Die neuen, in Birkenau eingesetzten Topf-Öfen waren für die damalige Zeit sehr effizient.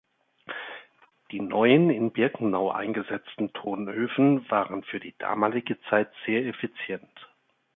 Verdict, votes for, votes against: rejected, 0, 2